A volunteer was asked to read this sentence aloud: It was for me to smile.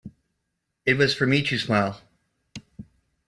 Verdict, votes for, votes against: accepted, 2, 0